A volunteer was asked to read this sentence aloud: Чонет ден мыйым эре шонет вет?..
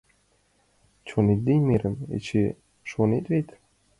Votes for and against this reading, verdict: 1, 2, rejected